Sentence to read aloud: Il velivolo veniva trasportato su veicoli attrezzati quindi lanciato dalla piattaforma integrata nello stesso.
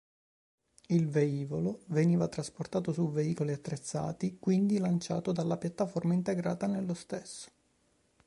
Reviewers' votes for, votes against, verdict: 3, 0, accepted